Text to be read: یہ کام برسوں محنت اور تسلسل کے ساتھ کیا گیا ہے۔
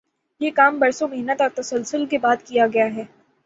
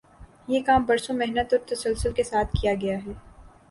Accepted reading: second